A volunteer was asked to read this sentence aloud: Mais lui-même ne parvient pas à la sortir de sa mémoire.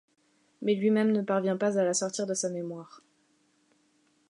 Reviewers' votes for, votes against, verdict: 2, 0, accepted